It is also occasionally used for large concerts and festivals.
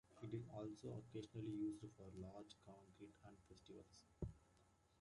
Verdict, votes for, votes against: rejected, 0, 2